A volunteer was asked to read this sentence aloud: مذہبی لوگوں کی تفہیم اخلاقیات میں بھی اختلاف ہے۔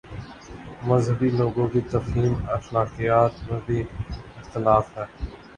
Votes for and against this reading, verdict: 4, 0, accepted